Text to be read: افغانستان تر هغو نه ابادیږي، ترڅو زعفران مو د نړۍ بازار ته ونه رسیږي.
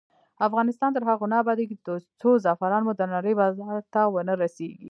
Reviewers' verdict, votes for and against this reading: rejected, 0, 2